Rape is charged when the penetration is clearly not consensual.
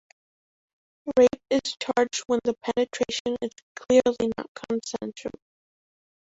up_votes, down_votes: 1, 2